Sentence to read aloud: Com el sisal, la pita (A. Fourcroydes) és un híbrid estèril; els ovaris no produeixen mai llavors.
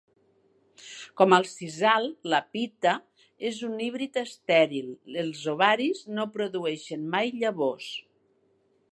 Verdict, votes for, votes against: rejected, 1, 3